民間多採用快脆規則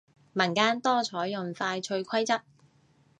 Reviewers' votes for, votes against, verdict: 3, 0, accepted